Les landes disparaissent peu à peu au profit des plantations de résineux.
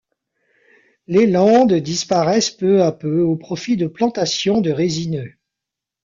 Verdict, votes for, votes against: rejected, 1, 2